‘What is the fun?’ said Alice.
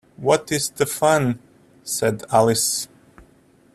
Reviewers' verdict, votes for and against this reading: accepted, 2, 0